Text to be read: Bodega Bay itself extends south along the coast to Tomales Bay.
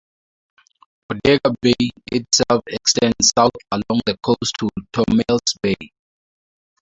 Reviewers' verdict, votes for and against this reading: rejected, 2, 10